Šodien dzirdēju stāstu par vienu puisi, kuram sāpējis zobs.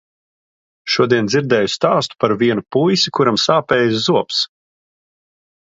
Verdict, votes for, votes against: accepted, 3, 0